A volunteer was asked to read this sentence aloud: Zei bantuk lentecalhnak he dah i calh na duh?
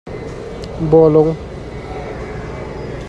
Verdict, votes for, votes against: rejected, 0, 2